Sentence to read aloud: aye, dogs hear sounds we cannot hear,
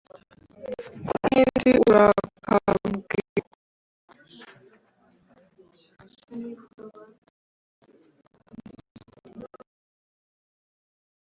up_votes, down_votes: 1, 2